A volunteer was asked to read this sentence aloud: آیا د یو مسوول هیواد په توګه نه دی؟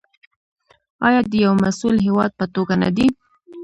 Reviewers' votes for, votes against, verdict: 1, 2, rejected